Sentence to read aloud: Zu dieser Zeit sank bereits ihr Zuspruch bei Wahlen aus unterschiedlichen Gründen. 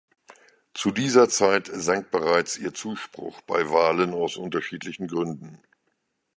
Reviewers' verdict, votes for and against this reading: accepted, 3, 0